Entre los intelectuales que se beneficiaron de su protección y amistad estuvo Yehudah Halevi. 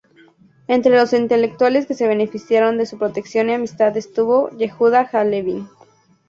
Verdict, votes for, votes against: rejected, 2, 2